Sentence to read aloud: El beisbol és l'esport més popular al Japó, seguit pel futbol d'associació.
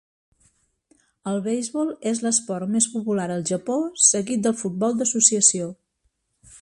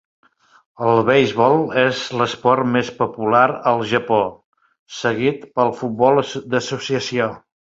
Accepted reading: first